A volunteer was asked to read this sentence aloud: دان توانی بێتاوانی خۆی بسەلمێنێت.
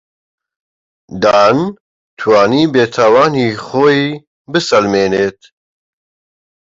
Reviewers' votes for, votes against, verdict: 2, 1, accepted